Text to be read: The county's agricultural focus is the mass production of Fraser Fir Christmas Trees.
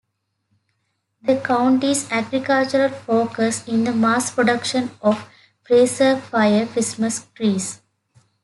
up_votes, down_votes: 1, 2